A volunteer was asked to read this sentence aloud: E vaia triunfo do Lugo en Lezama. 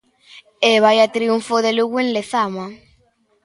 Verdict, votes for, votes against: accepted, 2, 1